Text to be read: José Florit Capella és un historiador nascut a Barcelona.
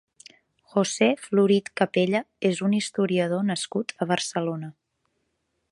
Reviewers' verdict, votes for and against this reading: accepted, 3, 0